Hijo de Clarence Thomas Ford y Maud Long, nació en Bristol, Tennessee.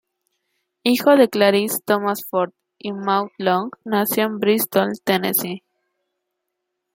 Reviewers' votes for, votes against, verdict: 1, 2, rejected